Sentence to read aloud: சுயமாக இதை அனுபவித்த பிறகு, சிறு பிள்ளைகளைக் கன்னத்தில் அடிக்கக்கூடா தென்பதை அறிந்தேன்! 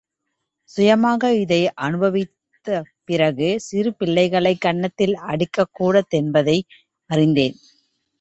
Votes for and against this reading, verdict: 0, 2, rejected